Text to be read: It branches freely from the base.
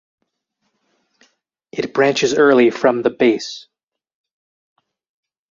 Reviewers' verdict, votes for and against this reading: rejected, 0, 4